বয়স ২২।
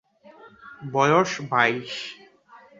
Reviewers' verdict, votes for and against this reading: rejected, 0, 2